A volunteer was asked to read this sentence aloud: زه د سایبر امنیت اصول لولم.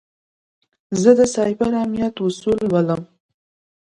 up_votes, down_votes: 2, 0